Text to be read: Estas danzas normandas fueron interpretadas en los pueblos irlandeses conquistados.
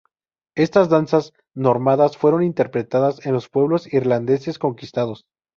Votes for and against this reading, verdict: 0, 2, rejected